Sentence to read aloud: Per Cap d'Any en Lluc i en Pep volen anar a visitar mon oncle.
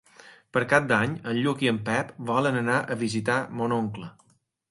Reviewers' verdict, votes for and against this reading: accepted, 3, 0